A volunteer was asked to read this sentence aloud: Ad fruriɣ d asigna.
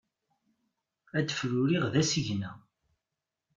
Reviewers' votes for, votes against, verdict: 1, 2, rejected